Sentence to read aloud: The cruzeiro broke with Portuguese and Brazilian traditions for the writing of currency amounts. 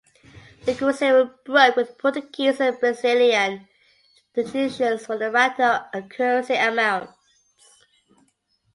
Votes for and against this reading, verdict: 2, 1, accepted